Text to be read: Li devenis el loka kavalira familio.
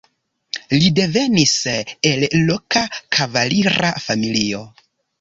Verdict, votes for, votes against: rejected, 0, 2